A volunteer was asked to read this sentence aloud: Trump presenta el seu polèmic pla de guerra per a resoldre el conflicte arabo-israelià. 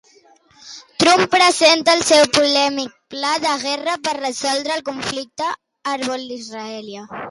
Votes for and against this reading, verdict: 0, 2, rejected